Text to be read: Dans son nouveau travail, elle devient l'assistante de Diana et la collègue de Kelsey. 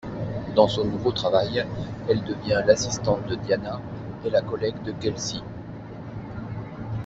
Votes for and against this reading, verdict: 1, 2, rejected